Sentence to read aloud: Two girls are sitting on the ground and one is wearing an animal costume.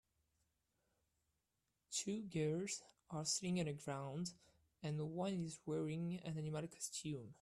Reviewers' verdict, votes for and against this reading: rejected, 1, 3